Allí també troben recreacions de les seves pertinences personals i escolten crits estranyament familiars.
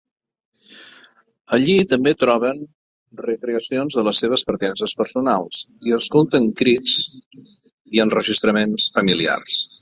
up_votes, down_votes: 0, 2